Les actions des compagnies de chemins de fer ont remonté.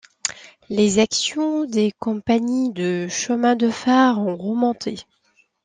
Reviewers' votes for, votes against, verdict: 2, 0, accepted